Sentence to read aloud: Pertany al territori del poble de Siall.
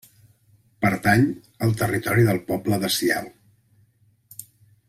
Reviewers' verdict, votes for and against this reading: accepted, 2, 0